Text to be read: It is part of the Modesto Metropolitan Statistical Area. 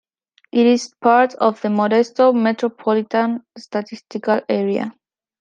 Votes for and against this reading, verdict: 2, 0, accepted